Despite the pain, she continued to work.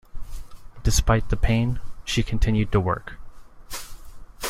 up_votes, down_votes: 2, 0